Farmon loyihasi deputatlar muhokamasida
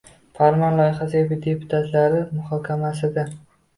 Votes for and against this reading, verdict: 1, 2, rejected